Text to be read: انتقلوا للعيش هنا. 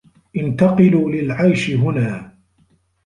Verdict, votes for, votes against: accepted, 2, 0